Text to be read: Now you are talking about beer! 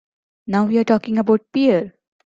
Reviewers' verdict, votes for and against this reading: accepted, 3, 1